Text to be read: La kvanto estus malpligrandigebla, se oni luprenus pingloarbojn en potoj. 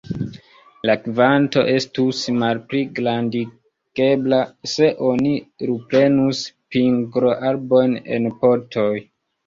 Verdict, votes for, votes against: rejected, 0, 2